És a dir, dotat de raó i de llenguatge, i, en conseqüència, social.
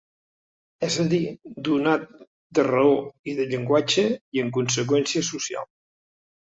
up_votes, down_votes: 1, 3